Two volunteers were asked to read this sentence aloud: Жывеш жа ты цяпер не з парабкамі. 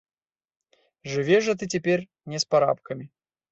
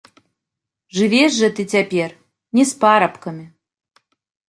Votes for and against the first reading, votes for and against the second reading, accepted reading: 0, 2, 2, 0, second